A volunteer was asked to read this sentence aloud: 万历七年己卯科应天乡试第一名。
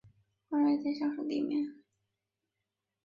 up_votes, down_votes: 0, 2